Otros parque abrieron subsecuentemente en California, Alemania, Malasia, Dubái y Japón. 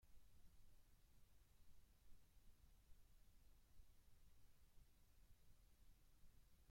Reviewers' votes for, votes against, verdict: 0, 2, rejected